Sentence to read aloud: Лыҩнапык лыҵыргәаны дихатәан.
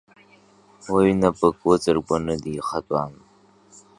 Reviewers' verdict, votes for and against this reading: accepted, 2, 0